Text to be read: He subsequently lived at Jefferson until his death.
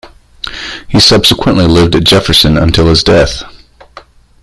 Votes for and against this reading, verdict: 2, 0, accepted